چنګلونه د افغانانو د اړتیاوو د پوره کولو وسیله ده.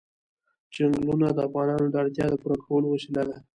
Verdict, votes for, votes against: rejected, 1, 2